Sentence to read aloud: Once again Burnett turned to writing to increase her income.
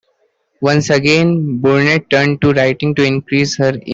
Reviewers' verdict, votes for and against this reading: rejected, 0, 2